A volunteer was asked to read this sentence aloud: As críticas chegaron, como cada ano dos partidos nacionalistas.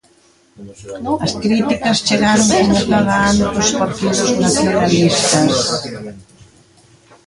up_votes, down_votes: 0, 2